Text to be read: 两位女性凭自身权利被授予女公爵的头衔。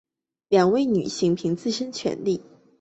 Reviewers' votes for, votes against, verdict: 0, 2, rejected